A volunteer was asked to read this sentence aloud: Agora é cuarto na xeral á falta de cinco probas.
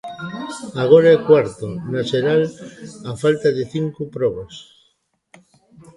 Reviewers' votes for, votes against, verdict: 1, 2, rejected